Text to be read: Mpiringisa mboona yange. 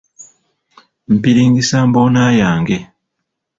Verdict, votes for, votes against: accepted, 3, 0